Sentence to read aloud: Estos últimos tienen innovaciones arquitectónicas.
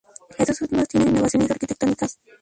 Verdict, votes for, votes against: rejected, 0, 2